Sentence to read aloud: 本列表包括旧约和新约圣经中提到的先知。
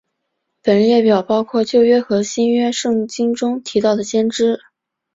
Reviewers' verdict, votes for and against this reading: accepted, 3, 0